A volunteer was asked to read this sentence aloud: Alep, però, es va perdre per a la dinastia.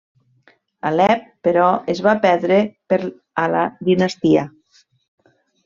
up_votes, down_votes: 1, 2